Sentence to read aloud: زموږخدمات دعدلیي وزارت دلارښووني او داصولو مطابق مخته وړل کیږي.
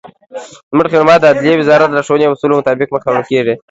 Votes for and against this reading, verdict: 2, 3, rejected